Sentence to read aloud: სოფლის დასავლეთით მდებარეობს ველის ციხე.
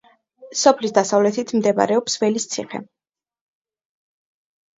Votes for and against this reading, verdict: 2, 0, accepted